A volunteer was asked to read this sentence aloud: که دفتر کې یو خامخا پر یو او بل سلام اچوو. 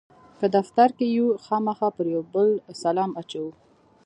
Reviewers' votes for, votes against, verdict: 2, 3, rejected